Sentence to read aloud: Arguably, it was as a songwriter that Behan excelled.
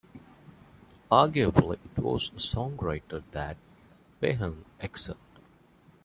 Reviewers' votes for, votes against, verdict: 0, 2, rejected